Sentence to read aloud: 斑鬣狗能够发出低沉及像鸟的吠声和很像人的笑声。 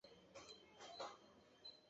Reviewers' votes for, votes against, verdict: 0, 2, rejected